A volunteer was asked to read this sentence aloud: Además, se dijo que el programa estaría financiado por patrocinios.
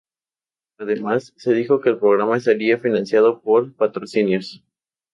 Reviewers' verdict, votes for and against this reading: rejected, 0, 2